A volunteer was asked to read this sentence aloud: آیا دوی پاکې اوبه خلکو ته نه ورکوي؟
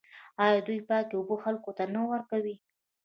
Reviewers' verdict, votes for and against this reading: rejected, 1, 2